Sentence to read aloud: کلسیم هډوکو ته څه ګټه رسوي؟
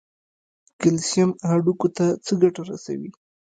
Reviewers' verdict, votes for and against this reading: rejected, 0, 2